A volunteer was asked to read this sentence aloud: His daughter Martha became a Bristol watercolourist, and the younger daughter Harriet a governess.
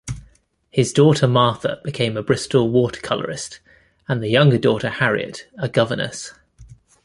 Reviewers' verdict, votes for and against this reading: accepted, 2, 0